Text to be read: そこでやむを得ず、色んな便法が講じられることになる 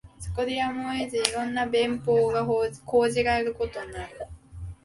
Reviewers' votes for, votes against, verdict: 3, 0, accepted